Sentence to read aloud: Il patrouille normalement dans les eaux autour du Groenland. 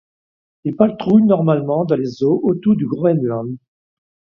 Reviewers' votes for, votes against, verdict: 0, 2, rejected